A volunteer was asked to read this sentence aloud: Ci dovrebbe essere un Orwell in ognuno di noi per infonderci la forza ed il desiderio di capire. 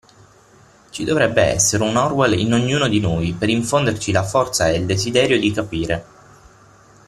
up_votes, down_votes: 6, 0